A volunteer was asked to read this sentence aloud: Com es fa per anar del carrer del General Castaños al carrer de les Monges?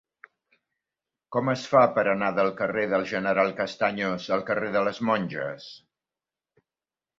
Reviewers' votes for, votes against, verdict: 4, 1, accepted